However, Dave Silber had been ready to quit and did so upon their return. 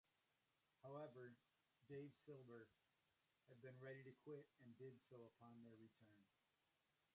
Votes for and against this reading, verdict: 0, 2, rejected